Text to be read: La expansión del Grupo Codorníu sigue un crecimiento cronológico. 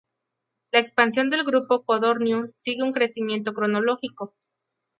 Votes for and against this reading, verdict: 2, 2, rejected